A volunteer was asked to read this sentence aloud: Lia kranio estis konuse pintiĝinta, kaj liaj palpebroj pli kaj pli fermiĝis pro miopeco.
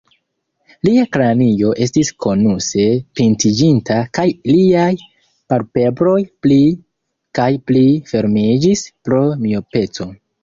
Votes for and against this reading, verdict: 0, 2, rejected